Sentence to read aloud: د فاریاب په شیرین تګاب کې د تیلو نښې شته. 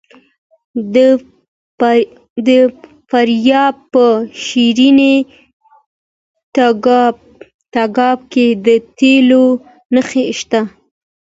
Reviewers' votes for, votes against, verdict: 1, 2, rejected